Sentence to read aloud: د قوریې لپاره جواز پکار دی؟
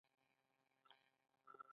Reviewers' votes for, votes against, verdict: 1, 2, rejected